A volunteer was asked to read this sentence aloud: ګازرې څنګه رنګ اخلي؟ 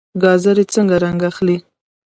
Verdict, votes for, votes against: accepted, 2, 0